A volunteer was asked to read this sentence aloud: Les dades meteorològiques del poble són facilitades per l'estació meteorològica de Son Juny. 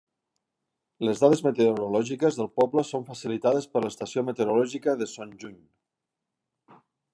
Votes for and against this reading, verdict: 0, 2, rejected